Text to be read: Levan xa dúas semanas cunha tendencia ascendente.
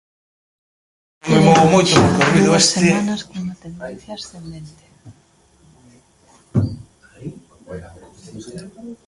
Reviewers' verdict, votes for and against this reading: rejected, 0, 2